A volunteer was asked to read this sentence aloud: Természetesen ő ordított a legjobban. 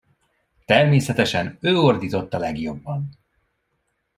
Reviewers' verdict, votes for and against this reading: rejected, 1, 2